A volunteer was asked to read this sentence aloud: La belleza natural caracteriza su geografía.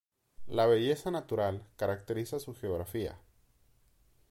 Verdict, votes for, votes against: accepted, 2, 0